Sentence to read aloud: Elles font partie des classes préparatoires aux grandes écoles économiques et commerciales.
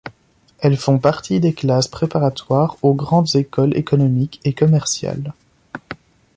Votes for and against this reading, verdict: 2, 0, accepted